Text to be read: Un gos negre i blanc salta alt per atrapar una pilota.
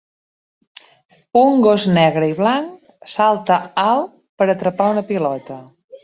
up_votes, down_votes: 3, 0